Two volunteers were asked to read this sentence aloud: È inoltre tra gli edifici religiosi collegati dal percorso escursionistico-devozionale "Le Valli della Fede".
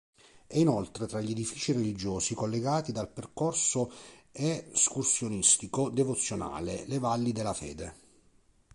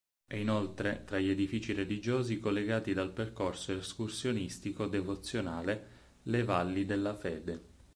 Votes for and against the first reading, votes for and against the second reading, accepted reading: 0, 2, 4, 0, second